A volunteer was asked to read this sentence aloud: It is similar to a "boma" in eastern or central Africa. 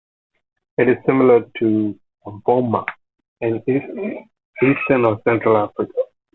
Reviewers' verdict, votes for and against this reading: rejected, 1, 2